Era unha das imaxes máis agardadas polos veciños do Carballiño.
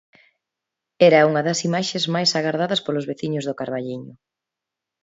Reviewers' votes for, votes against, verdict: 2, 0, accepted